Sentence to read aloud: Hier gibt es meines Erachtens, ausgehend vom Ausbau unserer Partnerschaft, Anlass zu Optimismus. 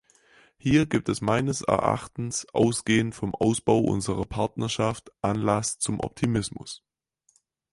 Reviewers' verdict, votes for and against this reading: rejected, 0, 4